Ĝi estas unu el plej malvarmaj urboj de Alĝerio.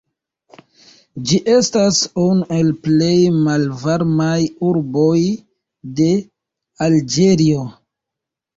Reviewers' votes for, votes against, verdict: 2, 1, accepted